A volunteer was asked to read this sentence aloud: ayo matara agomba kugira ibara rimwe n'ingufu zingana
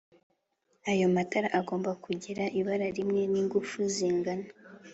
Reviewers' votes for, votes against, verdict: 2, 0, accepted